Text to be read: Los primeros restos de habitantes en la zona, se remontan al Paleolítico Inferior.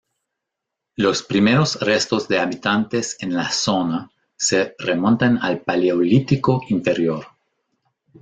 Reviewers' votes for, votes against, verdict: 1, 2, rejected